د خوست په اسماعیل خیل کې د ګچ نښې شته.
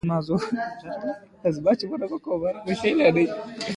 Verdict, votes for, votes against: accepted, 2, 0